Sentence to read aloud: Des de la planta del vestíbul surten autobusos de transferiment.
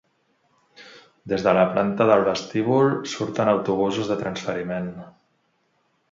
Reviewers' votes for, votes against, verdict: 2, 0, accepted